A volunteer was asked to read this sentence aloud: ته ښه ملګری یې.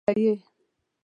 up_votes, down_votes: 1, 2